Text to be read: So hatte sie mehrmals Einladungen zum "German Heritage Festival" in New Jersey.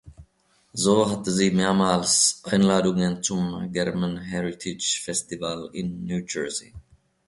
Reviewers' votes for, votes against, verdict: 1, 2, rejected